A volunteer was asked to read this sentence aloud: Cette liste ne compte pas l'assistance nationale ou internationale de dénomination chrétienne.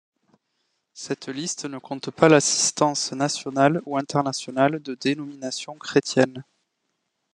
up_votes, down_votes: 2, 0